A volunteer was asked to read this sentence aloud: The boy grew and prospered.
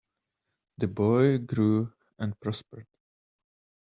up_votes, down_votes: 1, 2